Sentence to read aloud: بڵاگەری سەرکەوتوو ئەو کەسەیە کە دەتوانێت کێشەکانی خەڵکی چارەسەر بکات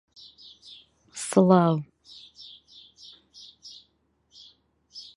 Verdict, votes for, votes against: rejected, 0, 2